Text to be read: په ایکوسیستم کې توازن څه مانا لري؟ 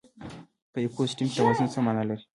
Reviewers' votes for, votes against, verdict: 1, 2, rejected